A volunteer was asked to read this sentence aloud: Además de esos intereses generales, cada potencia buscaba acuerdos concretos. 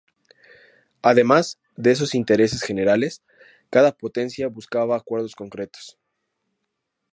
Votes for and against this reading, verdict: 2, 0, accepted